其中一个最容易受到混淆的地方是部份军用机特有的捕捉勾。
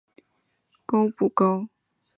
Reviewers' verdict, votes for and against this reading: rejected, 1, 3